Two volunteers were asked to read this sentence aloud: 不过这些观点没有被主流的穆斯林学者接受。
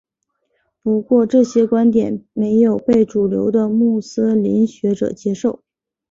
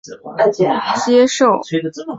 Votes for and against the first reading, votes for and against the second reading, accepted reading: 4, 0, 2, 8, first